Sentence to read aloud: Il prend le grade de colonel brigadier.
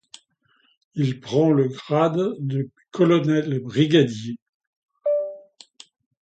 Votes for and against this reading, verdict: 2, 0, accepted